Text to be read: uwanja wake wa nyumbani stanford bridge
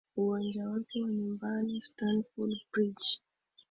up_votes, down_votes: 22, 3